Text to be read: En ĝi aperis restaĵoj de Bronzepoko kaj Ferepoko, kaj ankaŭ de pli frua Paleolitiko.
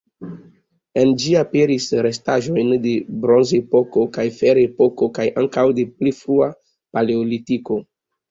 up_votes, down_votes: 0, 2